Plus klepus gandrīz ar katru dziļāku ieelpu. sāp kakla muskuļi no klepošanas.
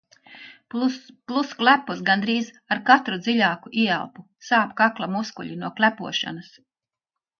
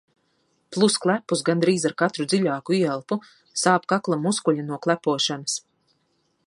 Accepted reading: second